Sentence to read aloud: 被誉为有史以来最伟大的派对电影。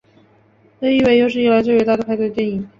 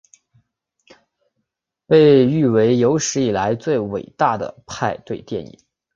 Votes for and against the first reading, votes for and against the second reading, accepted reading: 1, 2, 5, 0, second